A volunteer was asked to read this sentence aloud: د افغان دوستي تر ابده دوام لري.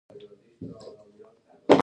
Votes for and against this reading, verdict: 1, 2, rejected